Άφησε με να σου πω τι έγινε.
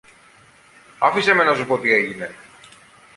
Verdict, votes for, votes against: rejected, 1, 2